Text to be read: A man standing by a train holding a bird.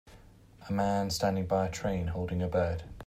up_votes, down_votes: 3, 0